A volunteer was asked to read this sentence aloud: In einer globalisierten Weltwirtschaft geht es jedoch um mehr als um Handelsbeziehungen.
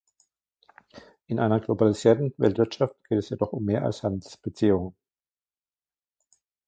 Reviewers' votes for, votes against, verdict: 0, 2, rejected